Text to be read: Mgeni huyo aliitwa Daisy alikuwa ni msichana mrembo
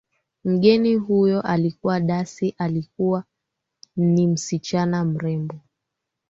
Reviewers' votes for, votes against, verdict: 2, 1, accepted